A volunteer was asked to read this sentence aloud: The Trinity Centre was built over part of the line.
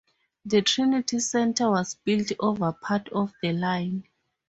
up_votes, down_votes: 2, 2